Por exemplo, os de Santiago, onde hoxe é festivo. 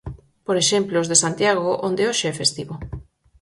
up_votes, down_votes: 4, 0